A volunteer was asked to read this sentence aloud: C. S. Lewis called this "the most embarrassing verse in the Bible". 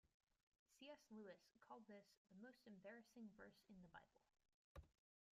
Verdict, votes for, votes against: rejected, 0, 2